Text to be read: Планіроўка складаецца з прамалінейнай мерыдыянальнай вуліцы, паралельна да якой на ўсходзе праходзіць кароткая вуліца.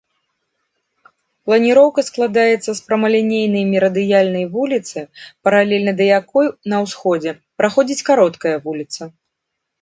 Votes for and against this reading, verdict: 2, 0, accepted